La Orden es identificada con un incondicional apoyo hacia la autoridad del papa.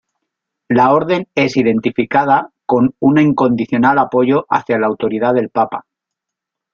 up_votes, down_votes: 2, 0